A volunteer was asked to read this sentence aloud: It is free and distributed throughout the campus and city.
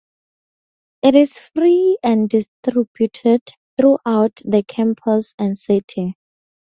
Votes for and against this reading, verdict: 0, 2, rejected